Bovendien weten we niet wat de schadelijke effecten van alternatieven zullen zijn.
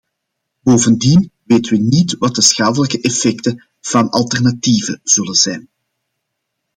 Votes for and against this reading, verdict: 2, 1, accepted